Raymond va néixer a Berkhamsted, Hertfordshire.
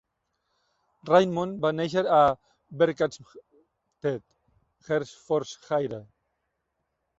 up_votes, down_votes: 0, 2